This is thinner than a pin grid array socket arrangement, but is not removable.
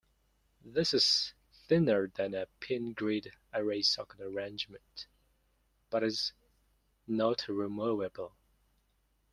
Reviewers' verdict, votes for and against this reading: accepted, 2, 0